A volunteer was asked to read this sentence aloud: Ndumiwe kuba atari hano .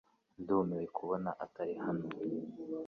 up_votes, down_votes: 2, 1